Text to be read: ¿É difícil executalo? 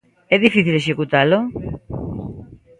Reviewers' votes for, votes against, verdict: 1, 2, rejected